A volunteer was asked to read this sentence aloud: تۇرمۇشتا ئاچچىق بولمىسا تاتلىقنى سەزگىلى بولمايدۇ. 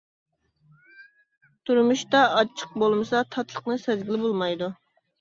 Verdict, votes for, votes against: accepted, 2, 0